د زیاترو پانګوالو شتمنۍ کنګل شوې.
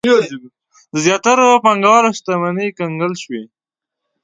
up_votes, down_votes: 1, 2